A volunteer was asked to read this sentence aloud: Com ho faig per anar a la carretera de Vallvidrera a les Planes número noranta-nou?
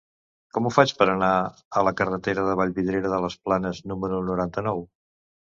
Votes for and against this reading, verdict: 0, 2, rejected